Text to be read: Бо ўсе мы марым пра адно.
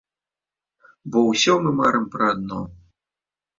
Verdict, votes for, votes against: rejected, 0, 2